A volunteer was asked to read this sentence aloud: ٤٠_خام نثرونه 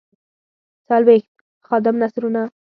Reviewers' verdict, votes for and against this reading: rejected, 0, 2